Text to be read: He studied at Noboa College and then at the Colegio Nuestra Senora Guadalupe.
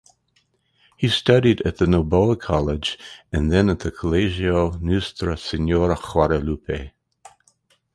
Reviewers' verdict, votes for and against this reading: rejected, 2, 2